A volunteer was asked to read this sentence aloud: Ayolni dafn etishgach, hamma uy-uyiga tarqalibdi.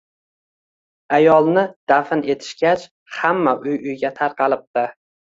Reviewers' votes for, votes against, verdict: 2, 1, accepted